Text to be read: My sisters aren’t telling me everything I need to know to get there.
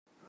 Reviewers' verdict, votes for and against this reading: rejected, 0, 2